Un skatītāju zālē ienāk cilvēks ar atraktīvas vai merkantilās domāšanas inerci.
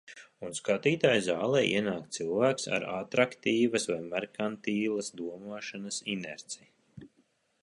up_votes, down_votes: 1, 2